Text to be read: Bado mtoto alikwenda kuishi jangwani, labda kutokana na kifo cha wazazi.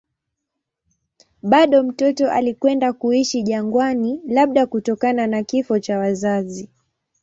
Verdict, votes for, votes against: accepted, 2, 0